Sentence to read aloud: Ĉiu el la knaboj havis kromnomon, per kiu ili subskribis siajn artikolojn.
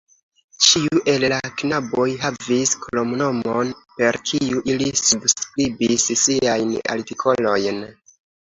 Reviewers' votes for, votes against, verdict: 1, 2, rejected